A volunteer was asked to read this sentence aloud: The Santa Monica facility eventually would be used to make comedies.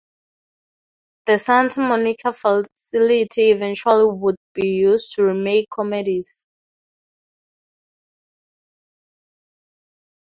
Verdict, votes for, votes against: rejected, 0, 4